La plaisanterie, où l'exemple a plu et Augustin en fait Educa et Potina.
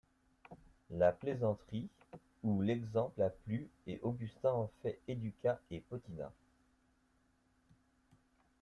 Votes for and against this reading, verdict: 1, 2, rejected